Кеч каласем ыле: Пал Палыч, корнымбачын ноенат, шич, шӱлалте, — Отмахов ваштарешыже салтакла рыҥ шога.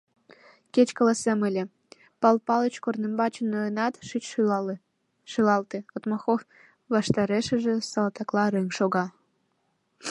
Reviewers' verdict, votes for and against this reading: accepted, 2, 1